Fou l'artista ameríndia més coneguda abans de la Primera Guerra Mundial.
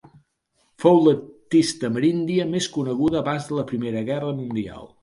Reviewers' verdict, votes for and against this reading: rejected, 0, 2